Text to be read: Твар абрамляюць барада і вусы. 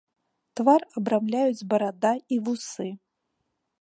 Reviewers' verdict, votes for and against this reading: accepted, 3, 0